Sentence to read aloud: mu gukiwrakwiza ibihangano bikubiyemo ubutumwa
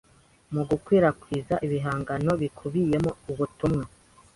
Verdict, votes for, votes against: accepted, 2, 0